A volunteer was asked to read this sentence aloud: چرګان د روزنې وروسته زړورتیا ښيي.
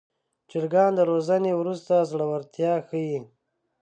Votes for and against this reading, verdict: 2, 0, accepted